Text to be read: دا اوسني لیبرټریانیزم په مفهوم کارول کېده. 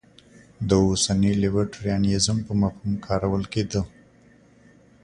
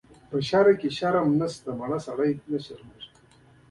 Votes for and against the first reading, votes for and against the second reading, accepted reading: 2, 0, 1, 2, first